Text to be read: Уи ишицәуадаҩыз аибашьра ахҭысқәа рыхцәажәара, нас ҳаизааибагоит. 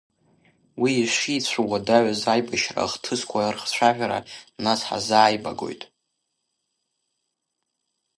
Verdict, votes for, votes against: rejected, 0, 2